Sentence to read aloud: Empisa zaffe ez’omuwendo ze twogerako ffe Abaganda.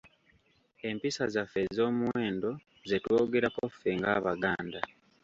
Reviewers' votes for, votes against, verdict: 1, 2, rejected